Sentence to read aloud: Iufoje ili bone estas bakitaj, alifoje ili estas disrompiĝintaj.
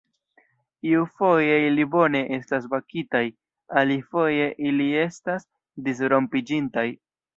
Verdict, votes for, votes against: rejected, 0, 2